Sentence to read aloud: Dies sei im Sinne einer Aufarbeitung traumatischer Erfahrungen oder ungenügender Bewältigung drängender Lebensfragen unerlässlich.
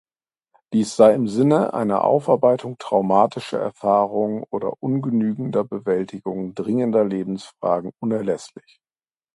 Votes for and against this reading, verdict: 0, 2, rejected